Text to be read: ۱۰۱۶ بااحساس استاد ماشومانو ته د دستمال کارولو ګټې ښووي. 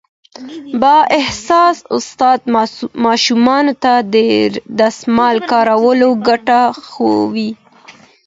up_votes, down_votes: 0, 2